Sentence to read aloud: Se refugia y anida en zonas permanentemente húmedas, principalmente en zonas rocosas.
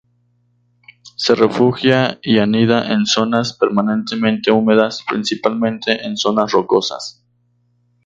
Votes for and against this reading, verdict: 4, 0, accepted